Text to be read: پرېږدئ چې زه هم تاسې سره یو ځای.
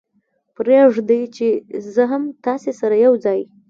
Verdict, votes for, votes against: accepted, 2, 0